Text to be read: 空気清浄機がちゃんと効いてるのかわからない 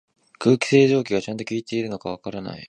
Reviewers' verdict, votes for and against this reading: accepted, 2, 0